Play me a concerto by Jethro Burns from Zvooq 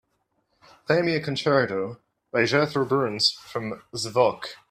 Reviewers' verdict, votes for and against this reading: accepted, 2, 0